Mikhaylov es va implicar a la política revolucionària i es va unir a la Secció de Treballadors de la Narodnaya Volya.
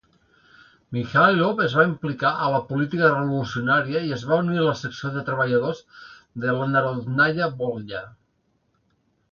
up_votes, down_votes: 2, 0